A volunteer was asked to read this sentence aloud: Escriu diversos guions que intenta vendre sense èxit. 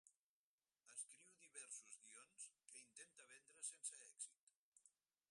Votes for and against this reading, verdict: 2, 4, rejected